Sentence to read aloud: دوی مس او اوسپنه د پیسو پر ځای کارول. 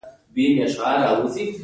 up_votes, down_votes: 1, 2